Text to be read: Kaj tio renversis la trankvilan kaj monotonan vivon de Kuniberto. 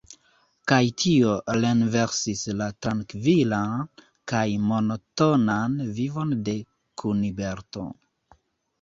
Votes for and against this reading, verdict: 1, 2, rejected